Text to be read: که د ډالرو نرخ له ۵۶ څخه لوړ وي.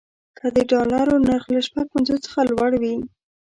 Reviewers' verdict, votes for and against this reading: rejected, 0, 2